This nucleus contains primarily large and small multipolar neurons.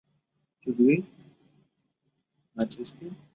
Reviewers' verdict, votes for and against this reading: rejected, 1, 2